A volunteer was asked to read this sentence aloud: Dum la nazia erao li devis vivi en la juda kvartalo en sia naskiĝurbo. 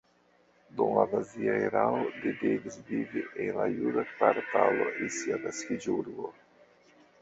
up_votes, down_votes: 1, 2